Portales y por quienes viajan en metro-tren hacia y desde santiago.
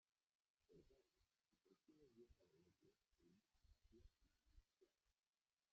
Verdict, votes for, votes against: rejected, 0, 2